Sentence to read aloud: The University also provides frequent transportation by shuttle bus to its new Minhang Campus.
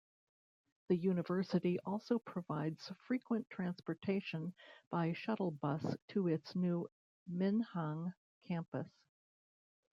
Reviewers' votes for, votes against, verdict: 2, 0, accepted